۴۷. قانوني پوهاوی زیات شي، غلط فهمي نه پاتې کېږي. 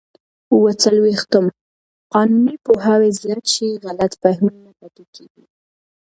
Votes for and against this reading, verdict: 0, 2, rejected